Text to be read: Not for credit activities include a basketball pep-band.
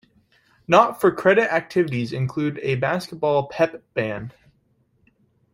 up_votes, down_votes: 2, 0